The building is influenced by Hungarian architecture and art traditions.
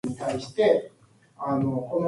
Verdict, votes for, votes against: rejected, 0, 2